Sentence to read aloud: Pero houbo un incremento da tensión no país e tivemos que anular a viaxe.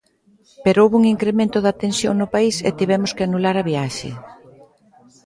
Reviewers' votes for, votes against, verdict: 2, 0, accepted